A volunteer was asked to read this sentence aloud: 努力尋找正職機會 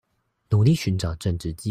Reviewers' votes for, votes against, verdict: 0, 2, rejected